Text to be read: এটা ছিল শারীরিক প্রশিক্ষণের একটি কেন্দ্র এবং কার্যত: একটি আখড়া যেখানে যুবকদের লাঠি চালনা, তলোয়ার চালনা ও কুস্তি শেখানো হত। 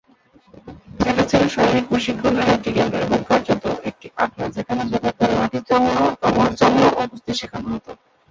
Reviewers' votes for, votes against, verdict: 1, 9, rejected